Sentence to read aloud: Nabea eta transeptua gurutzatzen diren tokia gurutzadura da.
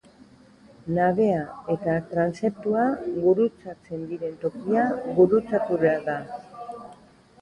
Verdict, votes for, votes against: rejected, 0, 2